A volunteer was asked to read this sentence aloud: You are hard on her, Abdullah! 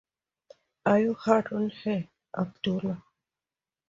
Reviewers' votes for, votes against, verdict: 0, 2, rejected